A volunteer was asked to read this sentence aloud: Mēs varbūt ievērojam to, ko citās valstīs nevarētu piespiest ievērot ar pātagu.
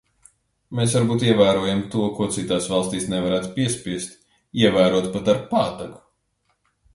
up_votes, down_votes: 0, 2